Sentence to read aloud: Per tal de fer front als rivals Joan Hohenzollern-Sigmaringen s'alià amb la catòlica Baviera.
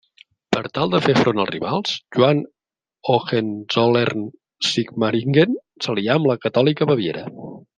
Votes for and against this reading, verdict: 2, 0, accepted